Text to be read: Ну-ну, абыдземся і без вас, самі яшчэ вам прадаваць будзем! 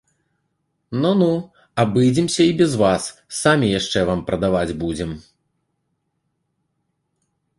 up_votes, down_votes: 2, 1